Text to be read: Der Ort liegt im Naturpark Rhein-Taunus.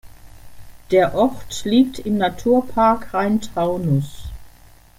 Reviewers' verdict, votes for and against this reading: accepted, 2, 0